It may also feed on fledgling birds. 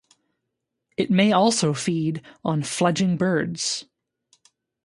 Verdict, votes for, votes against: rejected, 0, 2